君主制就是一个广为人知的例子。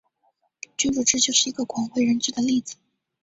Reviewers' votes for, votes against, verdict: 5, 0, accepted